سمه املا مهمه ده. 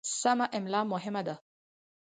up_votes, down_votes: 4, 0